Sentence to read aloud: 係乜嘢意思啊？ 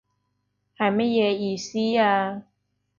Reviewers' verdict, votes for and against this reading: accepted, 2, 0